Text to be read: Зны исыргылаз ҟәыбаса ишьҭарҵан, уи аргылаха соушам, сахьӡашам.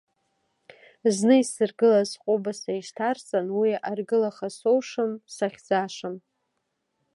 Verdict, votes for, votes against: accepted, 2, 0